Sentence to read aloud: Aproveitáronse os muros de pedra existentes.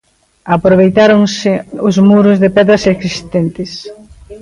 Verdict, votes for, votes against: rejected, 0, 2